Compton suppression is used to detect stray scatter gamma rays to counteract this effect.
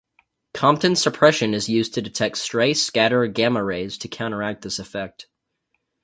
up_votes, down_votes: 2, 2